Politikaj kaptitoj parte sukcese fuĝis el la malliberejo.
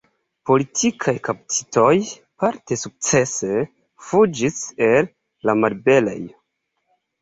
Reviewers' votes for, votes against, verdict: 2, 1, accepted